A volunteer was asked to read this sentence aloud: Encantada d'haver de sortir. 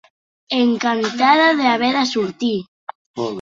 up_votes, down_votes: 5, 0